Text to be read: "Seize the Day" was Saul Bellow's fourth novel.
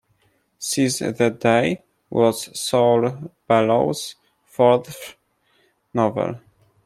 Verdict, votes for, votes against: rejected, 1, 2